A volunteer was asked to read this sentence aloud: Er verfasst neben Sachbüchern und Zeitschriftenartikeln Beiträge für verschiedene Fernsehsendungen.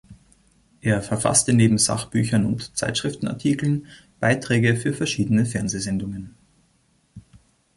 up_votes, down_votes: 1, 2